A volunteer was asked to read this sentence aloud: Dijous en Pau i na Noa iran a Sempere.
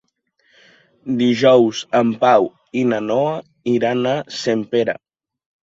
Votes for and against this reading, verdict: 2, 0, accepted